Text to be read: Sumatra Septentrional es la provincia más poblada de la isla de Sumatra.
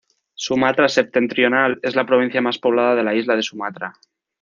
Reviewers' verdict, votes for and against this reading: accepted, 2, 0